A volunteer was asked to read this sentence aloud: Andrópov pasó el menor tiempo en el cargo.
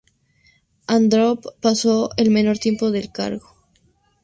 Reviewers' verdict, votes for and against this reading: rejected, 0, 2